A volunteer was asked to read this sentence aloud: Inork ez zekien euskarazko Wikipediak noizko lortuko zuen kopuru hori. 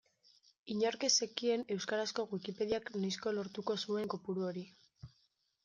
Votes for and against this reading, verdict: 2, 0, accepted